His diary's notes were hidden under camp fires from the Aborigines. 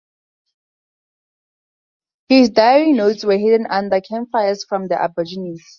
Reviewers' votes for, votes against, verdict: 2, 0, accepted